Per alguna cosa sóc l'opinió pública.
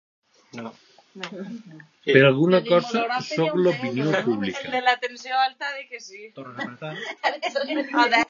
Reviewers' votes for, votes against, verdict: 0, 2, rejected